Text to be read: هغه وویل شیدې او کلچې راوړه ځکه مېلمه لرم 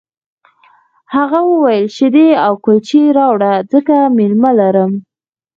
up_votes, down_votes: 2, 4